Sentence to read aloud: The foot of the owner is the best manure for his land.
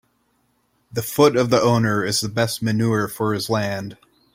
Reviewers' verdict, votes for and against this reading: accepted, 2, 0